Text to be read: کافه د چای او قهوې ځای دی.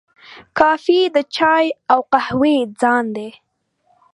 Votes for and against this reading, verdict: 1, 2, rejected